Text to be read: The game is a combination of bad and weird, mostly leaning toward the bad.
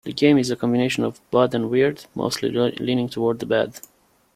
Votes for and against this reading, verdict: 2, 1, accepted